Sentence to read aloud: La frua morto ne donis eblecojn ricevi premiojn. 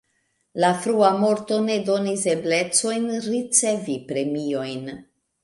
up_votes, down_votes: 0, 2